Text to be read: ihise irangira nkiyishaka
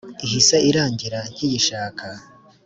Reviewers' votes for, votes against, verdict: 3, 0, accepted